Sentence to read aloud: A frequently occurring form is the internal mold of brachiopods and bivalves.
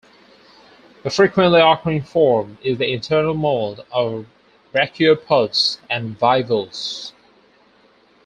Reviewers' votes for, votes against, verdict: 4, 0, accepted